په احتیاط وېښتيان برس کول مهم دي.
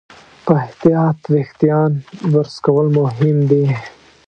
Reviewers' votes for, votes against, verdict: 1, 2, rejected